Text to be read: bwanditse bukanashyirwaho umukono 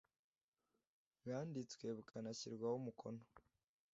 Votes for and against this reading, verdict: 2, 0, accepted